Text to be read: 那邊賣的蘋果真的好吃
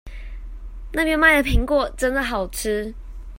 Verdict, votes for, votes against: accepted, 2, 0